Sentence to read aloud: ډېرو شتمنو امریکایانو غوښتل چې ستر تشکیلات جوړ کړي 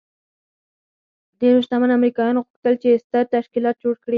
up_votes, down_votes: 2, 4